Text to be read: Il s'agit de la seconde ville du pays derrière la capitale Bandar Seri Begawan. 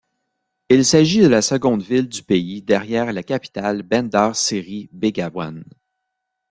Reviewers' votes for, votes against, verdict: 2, 1, accepted